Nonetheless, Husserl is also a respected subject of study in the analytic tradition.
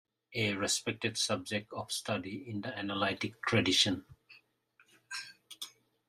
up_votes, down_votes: 0, 2